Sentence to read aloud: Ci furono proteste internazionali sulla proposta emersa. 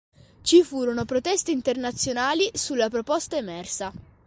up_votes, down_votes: 3, 0